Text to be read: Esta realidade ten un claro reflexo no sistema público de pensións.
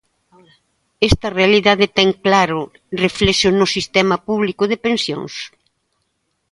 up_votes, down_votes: 0, 2